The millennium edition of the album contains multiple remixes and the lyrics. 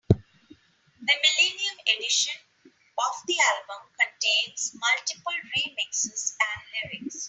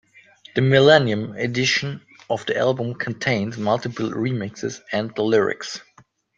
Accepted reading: second